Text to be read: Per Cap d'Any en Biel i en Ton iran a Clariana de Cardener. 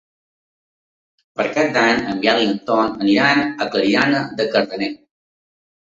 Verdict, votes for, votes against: rejected, 0, 2